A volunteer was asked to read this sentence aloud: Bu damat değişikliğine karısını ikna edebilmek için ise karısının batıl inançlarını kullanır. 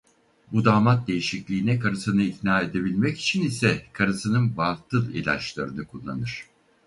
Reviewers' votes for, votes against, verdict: 0, 4, rejected